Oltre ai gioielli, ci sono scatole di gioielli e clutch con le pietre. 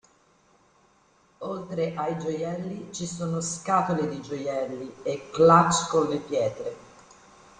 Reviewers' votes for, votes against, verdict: 2, 0, accepted